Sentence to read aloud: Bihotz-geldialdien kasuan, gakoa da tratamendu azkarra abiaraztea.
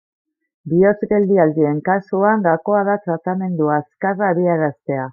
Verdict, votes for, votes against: rejected, 0, 2